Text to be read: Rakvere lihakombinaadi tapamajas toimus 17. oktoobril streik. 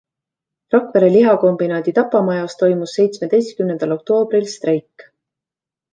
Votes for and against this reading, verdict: 0, 2, rejected